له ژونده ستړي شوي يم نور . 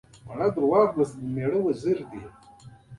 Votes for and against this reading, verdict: 1, 2, rejected